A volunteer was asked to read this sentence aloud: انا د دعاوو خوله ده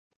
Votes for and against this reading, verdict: 1, 2, rejected